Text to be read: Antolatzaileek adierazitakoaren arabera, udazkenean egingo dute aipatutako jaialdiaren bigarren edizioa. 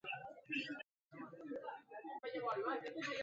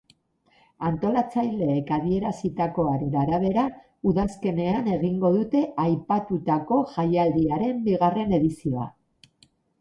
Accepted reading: second